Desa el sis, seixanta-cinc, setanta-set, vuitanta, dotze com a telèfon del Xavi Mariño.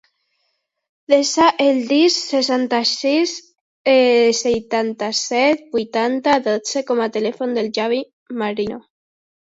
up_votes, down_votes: 0, 2